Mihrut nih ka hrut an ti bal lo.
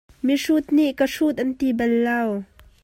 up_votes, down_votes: 2, 0